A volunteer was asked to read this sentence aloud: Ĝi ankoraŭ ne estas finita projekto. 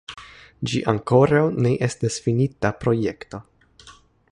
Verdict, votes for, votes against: accepted, 3, 0